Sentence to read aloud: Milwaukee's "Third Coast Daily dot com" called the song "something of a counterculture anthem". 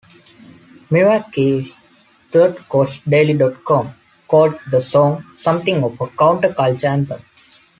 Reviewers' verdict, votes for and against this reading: accepted, 2, 0